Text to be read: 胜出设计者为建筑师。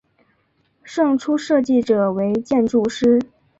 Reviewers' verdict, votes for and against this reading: accepted, 3, 0